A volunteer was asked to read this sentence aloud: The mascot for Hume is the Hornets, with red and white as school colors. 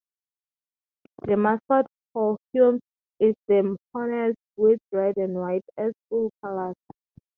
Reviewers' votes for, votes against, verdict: 2, 0, accepted